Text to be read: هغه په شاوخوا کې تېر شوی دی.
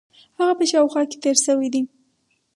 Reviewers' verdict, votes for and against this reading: rejected, 2, 2